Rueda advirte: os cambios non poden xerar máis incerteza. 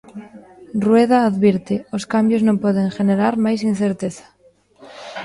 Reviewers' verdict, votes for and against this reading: rejected, 0, 2